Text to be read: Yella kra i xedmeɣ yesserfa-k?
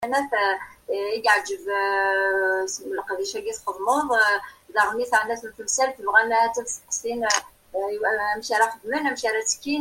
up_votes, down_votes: 0, 2